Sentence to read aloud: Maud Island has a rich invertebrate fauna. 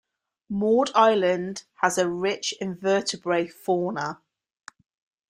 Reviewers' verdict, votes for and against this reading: accepted, 3, 0